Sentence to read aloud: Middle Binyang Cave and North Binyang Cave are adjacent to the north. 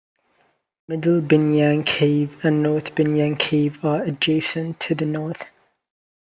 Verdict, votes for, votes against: accepted, 2, 0